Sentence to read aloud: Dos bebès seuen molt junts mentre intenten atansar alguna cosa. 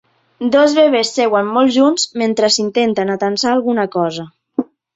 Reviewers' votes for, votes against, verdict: 0, 2, rejected